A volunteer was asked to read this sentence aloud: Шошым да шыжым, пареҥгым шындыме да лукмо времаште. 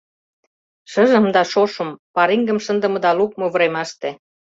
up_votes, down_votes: 0, 2